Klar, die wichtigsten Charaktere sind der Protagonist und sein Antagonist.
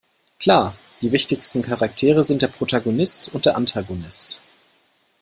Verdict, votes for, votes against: rejected, 0, 2